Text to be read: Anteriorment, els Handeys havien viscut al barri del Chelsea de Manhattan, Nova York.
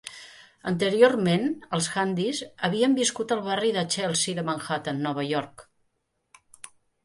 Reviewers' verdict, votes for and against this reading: accepted, 2, 1